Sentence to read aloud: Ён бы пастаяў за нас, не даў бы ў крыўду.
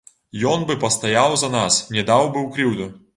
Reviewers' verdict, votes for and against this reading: rejected, 1, 2